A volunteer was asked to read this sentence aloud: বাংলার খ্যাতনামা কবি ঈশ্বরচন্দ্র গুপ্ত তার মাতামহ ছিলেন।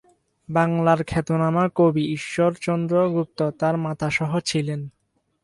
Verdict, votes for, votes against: rejected, 0, 6